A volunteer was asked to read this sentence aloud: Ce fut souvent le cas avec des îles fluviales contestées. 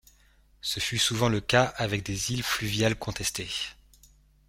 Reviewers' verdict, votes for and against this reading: accepted, 2, 0